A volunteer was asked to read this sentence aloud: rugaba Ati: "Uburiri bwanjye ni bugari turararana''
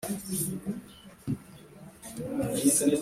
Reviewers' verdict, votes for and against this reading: rejected, 1, 2